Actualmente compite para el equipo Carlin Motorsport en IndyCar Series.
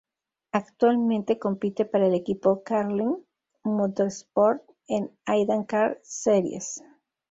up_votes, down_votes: 0, 2